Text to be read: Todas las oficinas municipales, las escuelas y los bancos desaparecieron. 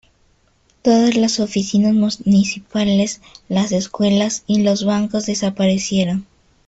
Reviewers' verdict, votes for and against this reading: rejected, 1, 2